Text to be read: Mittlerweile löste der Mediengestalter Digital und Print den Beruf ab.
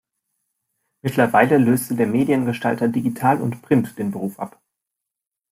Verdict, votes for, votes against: accepted, 2, 0